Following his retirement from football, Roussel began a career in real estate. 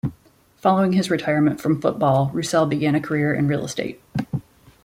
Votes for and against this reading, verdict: 2, 0, accepted